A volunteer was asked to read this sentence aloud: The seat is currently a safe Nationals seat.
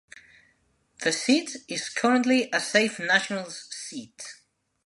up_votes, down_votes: 2, 0